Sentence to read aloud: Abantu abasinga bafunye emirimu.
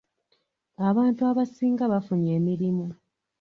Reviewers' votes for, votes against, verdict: 2, 1, accepted